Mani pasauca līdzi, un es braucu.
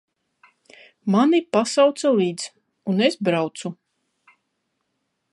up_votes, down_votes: 1, 2